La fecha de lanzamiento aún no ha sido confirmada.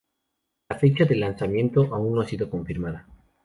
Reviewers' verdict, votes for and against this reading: accepted, 2, 0